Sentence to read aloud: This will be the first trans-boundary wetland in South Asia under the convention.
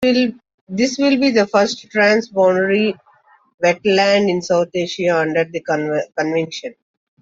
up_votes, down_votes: 1, 2